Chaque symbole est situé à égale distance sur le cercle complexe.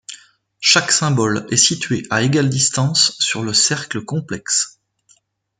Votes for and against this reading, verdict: 2, 0, accepted